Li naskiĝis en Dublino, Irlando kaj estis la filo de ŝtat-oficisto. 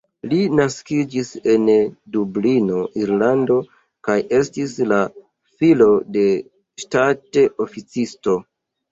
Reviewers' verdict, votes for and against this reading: accepted, 2, 1